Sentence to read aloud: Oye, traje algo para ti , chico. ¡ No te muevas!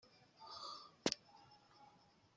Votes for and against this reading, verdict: 0, 2, rejected